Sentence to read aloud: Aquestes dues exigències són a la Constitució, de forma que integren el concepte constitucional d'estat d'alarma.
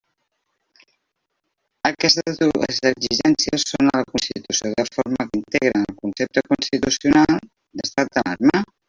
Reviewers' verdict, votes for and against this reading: rejected, 0, 2